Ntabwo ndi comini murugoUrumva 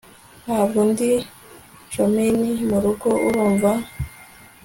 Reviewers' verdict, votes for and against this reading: accepted, 3, 0